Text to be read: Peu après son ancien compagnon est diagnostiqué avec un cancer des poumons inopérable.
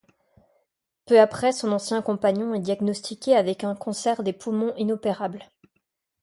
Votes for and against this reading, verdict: 2, 0, accepted